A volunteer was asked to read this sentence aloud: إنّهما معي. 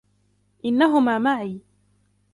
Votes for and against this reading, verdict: 2, 1, accepted